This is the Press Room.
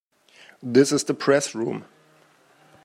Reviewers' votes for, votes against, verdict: 2, 0, accepted